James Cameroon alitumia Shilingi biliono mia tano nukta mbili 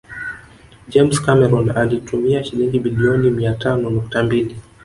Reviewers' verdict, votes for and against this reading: rejected, 1, 2